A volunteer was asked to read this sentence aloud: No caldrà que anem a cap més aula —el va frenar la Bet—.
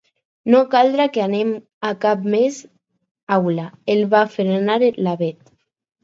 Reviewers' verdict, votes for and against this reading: accepted, 4, 2